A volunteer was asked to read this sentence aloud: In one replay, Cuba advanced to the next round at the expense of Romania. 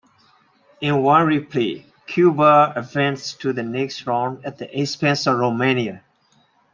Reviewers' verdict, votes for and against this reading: accepted, 2, 0